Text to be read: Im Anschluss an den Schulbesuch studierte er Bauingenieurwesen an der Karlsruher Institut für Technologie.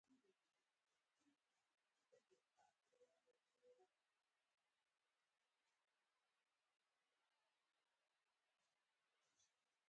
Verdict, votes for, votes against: rejected, 0, 4